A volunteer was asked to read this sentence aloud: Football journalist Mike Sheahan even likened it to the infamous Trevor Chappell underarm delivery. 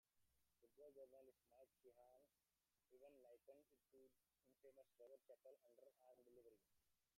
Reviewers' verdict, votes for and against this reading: rejected, 0, 2